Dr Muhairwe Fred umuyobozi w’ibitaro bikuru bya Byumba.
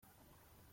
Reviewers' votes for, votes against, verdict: 0, 2, rejected